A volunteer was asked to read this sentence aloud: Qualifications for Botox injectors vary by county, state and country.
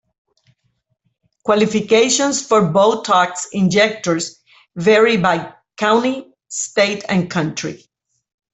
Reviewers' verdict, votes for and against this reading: rejected, 1, 2